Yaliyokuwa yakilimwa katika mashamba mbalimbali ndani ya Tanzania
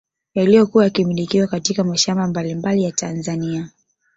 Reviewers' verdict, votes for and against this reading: accepted, 3, 0